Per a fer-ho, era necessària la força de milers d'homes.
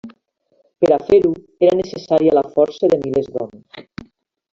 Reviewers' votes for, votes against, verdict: 3, 0, accepted